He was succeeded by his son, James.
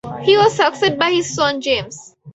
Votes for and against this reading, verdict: 0, 4, rejected